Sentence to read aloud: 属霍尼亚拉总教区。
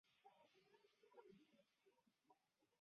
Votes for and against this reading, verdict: 0, 2, rejected